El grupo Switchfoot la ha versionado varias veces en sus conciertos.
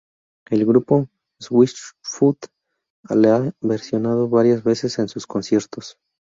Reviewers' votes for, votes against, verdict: 0, 2, rejected